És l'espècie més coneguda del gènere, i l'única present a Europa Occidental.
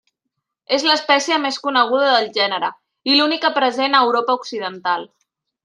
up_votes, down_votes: 3, 0